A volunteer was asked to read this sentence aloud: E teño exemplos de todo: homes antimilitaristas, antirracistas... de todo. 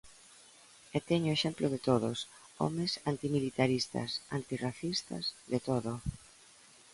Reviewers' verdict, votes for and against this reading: rejected, 0, 3